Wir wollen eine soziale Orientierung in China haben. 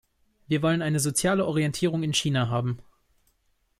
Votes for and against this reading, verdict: 2, 0, accepted